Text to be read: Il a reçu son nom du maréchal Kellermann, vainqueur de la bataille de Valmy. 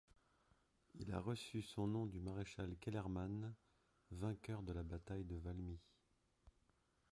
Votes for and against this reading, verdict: 0, 2, rejected